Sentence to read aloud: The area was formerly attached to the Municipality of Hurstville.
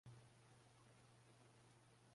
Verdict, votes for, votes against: rejected, 1, 2